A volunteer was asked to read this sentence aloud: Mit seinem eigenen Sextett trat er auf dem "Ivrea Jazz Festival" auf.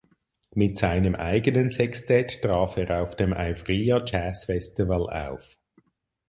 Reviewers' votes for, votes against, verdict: 2, 4, rejected